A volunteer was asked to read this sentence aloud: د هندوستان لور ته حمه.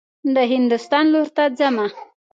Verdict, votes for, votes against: accepted, 2, 0